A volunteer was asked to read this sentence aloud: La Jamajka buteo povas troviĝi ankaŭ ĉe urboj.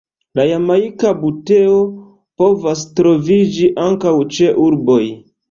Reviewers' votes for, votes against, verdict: 0, 2, rejected